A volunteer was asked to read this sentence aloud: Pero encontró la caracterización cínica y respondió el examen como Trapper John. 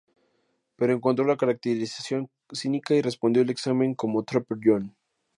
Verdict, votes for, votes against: accepted, 2, 0